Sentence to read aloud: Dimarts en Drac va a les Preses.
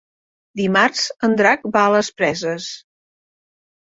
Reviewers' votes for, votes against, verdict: 3, 0, accepted